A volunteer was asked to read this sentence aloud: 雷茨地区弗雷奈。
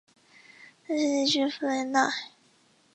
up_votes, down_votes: 2, 0